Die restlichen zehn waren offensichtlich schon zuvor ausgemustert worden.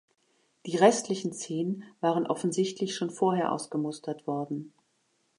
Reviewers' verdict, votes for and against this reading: rejected, 1, 2